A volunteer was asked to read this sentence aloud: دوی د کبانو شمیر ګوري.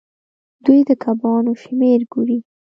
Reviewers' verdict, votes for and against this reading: rejected, 0, 2